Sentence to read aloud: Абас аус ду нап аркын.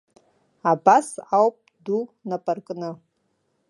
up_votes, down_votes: 1, 3